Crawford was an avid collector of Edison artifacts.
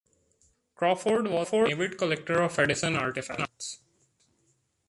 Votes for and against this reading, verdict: 0, 2, rejected